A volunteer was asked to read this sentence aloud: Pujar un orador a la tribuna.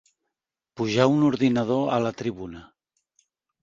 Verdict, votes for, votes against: rejected, 0, 2